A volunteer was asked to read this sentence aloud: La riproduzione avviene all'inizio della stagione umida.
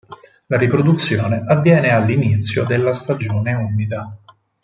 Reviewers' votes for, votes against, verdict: 6, 0, accepted